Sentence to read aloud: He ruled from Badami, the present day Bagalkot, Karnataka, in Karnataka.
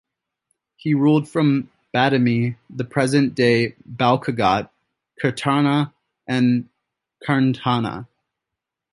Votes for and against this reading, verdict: 0, 2, rejected